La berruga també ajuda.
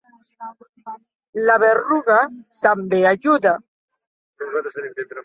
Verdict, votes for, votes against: accepted, 2, 1